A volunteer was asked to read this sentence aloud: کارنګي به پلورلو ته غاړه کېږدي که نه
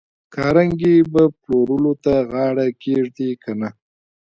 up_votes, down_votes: 2, 1